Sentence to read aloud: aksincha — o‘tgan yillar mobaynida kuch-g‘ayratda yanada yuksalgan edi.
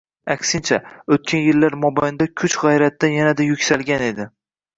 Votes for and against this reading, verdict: 1, 2, rejected